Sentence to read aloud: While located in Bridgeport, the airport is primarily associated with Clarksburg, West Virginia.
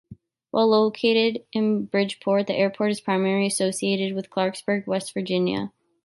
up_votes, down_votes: 2, 1